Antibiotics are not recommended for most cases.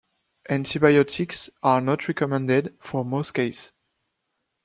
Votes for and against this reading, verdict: 0, 2, rejected